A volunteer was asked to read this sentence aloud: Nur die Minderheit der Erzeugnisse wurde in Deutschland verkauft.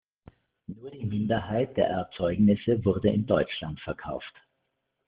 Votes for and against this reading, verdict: 1, 2, rejected